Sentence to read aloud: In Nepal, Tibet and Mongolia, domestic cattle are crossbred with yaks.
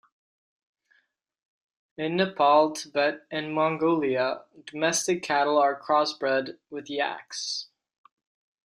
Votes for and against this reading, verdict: 2, 0, accepted